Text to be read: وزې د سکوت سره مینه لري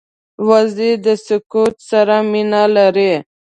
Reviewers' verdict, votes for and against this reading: accepted, 2, 0